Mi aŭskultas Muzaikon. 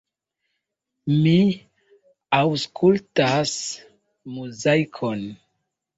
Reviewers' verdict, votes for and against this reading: accepted, 2, 1